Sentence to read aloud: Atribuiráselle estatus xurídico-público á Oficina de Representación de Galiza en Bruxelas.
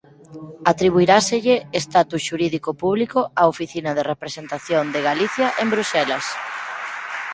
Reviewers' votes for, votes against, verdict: 2, 6, rejected